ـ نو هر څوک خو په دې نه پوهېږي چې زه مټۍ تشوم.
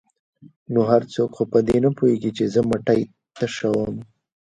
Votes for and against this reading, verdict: 1, 2, rejected